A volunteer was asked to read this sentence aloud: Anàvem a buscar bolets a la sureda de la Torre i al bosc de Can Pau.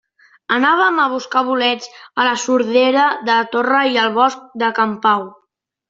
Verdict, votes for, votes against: rejected, 0, 2